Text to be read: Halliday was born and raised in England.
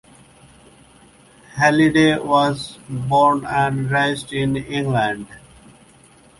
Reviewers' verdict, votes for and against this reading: accepted, 2, 0